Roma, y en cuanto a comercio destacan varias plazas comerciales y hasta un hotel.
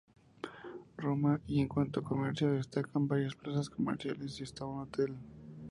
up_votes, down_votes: 0, 2